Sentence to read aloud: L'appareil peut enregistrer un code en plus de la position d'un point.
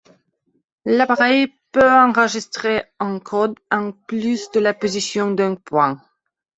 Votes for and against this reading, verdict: 2, 1, accepted